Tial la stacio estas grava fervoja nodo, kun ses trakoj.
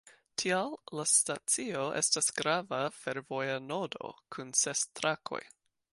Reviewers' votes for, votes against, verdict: 2, 0, accepted